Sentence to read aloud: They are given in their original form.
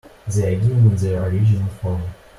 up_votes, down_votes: 1, 2